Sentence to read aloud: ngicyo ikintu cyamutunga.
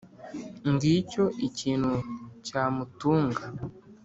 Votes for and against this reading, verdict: 2, 0, accepted